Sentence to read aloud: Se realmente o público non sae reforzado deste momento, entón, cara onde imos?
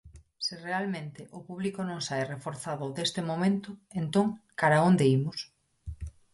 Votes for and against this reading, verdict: 2, 0, accepted